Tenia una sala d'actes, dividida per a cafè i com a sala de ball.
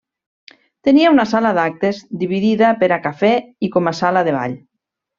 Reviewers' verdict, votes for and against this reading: accepted, 3, 0